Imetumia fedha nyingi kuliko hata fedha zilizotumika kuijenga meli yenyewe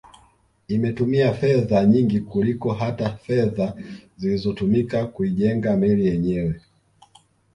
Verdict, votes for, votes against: rejected, 0, 2